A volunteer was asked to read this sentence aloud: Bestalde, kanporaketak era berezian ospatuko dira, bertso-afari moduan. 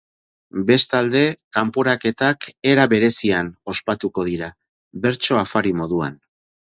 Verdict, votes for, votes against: accepted, 6, 0